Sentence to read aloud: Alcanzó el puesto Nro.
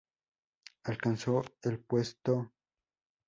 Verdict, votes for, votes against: rejected, 0, 2